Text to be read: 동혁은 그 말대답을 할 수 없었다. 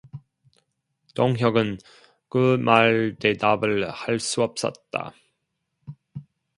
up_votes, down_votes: 0, 2